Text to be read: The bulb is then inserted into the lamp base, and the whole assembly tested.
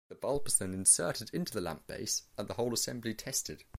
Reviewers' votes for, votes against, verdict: 2, 0, accepted